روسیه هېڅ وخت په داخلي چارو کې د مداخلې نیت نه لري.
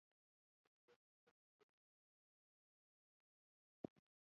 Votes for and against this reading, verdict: 1, 2, rejected